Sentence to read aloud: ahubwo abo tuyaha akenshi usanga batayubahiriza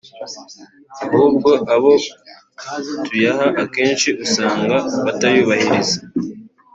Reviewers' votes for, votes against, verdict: 0, 2, rejected